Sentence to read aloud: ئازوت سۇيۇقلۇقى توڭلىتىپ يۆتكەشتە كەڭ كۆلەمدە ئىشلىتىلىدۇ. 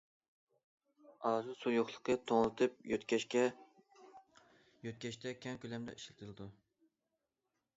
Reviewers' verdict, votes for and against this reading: rejected, 0, 2